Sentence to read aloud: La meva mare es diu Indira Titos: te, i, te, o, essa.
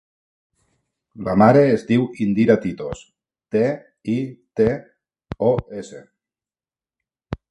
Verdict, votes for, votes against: rejected, 0, 2